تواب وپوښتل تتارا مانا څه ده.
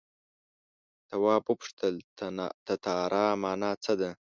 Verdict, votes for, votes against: rejected, 1, 2